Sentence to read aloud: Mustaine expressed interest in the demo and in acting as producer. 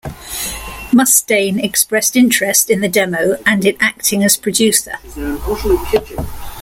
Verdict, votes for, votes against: accepted, 2, 1